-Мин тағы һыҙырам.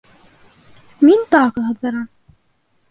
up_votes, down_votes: 1, 2